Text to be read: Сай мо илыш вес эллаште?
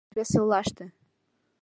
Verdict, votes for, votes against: rejected, 1, 2